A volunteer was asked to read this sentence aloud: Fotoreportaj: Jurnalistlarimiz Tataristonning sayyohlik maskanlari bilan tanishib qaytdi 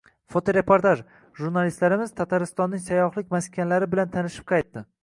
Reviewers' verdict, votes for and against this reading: accepted, 2, 0